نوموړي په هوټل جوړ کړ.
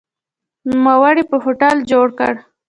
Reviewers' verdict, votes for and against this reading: accepted, 2, 0